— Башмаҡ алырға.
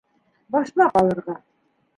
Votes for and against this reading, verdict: 1, 2, rejected